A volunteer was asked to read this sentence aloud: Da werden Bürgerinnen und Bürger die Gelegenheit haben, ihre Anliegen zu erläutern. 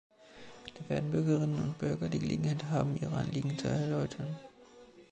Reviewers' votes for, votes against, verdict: 2, 0, accepted